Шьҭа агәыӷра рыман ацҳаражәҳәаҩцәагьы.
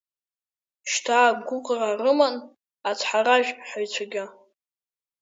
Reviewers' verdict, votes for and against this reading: rejected, 0, 2